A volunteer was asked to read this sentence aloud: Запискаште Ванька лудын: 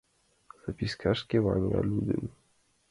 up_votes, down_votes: 0, 3